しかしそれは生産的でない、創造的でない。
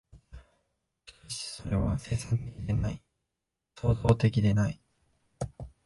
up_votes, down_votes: 0, 2